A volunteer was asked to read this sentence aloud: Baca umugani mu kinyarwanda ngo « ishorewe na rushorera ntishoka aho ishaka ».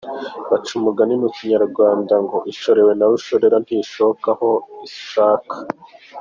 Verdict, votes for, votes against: accepted, 2, 0